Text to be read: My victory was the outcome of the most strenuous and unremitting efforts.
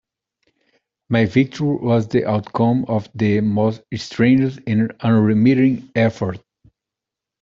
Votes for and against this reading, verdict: 0, 2, rejected